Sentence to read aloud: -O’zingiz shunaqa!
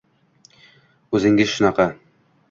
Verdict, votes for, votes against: rejected, 1, 2